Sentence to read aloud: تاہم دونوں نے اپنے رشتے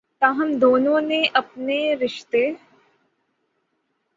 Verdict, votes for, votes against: accepted, 3, 0